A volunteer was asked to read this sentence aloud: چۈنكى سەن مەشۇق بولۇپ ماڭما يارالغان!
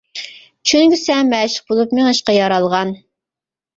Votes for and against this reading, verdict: 0, 2, rejected